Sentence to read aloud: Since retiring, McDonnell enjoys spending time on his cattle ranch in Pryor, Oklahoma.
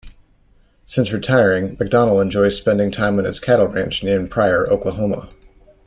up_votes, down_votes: 1, 2